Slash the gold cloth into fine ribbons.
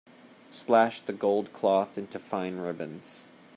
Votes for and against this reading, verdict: 2, 0, accepted